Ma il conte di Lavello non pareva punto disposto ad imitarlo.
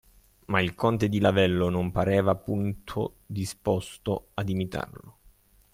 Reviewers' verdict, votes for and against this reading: accepted, 2, 1